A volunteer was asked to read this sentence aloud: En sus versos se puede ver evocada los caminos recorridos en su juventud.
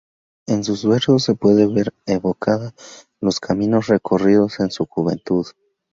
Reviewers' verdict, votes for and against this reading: accepted, 2, 0